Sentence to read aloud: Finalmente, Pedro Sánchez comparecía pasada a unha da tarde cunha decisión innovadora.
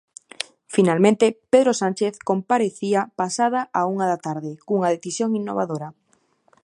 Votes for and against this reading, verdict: 2, 0, accepted